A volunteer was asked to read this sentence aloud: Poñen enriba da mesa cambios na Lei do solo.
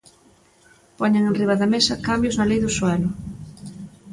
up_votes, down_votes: 0, 2